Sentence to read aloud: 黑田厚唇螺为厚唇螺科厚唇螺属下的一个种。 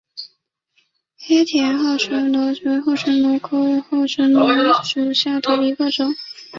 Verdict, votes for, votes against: accepted, 2, 0